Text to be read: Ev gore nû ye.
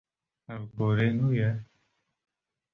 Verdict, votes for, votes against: accepted, 2, 0